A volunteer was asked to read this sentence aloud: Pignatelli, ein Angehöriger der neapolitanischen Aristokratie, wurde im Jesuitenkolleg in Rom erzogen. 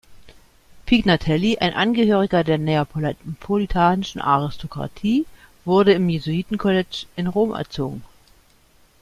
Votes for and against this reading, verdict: 0, 2, rejected